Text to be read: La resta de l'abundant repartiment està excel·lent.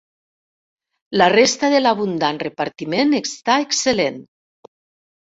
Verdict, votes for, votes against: accepted, 3, 0